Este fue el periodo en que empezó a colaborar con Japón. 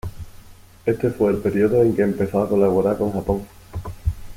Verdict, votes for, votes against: accepted, 2, 0